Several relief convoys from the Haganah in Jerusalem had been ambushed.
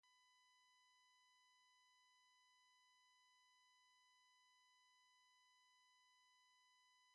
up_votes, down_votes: 0, 2